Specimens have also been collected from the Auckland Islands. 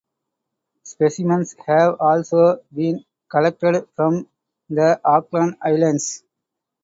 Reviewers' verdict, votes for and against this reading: accepted, 2, 0